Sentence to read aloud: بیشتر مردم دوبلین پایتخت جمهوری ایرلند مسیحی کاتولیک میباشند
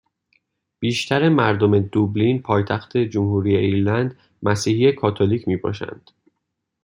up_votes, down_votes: 2, 0